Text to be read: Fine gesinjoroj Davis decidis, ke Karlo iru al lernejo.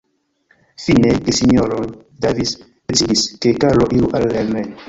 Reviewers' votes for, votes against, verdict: 1, 2, rejected